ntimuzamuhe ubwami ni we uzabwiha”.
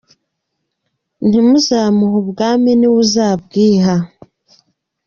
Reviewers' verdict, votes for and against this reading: accepted, 2, 0